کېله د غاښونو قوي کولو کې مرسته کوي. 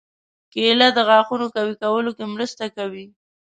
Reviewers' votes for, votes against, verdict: 2, 0, accepted